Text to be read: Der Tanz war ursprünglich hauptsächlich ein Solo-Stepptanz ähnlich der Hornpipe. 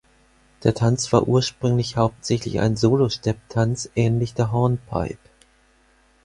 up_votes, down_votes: 4, 0